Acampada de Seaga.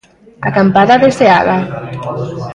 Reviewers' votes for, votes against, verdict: 2, 0, accepted